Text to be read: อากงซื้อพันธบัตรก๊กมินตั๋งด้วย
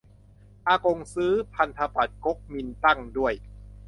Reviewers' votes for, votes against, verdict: 0, 2, rejected